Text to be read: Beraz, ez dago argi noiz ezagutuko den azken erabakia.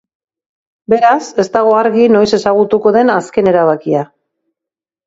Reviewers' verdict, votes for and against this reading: accepted, 2, 1